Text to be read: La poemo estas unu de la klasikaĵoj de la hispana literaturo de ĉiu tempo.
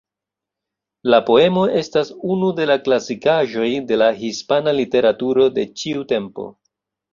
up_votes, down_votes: 2, 0